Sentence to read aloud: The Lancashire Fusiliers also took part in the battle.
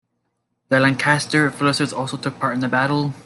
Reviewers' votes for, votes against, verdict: 1, 2, rejected